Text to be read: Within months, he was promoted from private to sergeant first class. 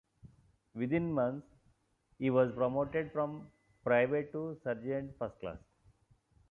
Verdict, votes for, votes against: accepted, 2, 1